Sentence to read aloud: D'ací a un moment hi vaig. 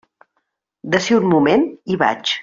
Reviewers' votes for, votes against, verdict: 2, 0, accepted